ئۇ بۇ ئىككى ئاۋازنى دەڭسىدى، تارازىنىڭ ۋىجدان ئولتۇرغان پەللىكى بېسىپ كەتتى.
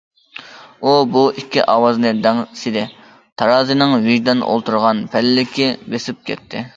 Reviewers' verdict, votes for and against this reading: accepted, 2, 0